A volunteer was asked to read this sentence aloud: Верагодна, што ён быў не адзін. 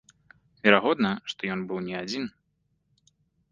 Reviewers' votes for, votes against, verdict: 3, 0, accepted